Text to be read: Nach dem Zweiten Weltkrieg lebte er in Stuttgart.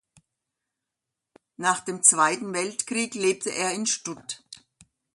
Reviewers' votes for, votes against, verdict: 0, 2, rejected